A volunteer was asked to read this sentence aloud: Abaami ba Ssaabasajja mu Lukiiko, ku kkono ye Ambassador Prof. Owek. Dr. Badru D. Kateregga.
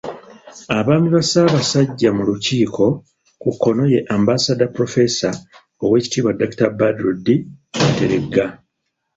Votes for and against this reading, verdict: 0, 2, rejected